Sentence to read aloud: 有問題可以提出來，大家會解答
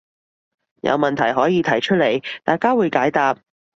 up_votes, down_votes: 2, 2